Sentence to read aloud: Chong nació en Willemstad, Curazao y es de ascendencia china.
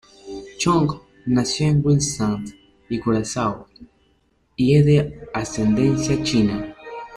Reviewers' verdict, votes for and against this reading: rejected, 1, 2